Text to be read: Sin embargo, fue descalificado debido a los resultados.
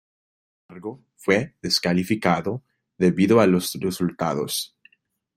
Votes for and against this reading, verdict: 0, 2, rejected